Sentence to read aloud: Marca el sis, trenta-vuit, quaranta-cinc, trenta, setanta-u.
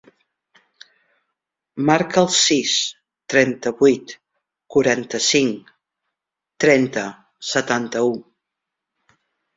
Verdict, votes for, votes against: accepted, 3, 0